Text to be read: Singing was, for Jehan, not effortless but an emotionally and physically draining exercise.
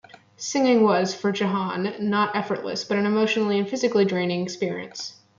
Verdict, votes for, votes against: accepted, 2, 1